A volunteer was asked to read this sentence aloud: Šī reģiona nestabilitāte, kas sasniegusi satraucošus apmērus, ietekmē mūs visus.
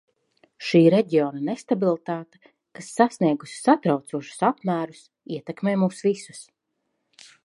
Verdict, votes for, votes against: accepted, 2, 0